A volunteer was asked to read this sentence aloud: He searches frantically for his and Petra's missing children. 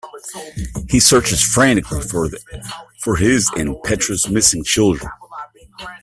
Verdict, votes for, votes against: rejected, 1, 2